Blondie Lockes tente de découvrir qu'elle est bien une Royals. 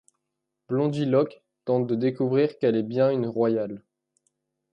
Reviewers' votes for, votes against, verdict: 0, 2, rejected